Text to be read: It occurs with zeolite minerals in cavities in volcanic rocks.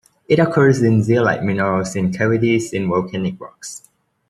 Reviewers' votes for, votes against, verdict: 1, 2, rejected